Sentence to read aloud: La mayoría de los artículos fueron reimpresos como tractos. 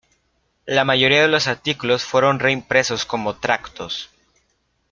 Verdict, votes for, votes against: accepted, 2, 0